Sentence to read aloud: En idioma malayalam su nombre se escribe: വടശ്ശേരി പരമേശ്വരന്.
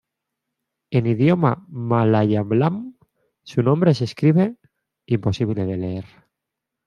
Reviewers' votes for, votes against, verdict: 1, 2, rejected